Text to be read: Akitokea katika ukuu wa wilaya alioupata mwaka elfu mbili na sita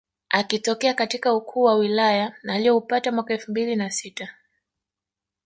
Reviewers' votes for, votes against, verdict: 2, 0, accepted